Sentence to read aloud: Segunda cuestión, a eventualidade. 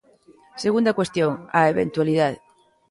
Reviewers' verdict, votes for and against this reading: accepted, 2, 1